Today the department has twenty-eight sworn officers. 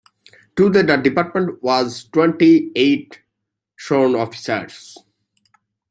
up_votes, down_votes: 1, 2